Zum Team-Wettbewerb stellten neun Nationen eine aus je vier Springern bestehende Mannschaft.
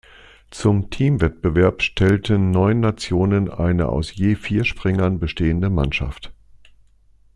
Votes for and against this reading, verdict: 2, 0, accepted